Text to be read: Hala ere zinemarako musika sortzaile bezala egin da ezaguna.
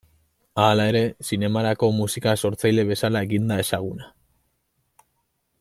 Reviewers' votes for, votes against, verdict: 2, 0, accepted